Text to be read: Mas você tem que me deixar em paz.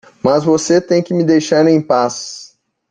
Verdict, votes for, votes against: accepted, 2, 0